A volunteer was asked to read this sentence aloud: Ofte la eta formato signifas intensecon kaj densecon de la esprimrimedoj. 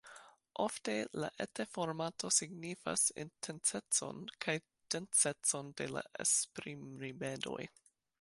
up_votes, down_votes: 3, 0